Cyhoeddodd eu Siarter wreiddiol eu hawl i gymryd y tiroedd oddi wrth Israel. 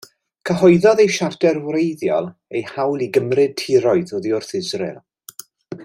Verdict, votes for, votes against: rejected, 1, 2